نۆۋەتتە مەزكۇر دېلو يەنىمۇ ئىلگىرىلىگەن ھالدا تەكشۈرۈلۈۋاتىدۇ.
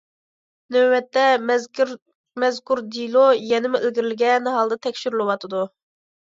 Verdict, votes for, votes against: accepted, 2, 1